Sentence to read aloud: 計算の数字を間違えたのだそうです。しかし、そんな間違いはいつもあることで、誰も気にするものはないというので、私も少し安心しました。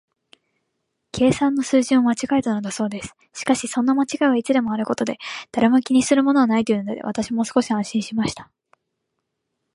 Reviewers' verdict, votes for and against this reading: rejected, 0, 3